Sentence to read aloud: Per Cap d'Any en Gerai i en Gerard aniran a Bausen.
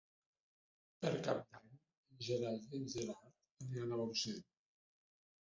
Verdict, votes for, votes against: rejected, 0, 2